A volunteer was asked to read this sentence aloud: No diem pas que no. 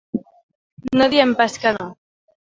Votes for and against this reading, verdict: 3, 0, accepted